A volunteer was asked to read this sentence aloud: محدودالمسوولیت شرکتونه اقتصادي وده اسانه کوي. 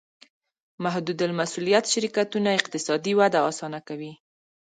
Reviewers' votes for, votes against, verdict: 2, 0, accepted